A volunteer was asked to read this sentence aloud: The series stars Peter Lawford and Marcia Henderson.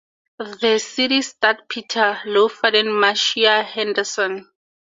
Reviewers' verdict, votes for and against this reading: rejected, 2, 2